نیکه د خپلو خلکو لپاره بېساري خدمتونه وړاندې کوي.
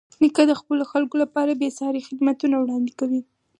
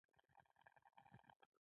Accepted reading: first